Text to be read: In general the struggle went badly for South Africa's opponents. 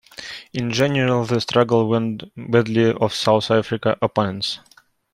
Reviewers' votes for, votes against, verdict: 0, 2, rejected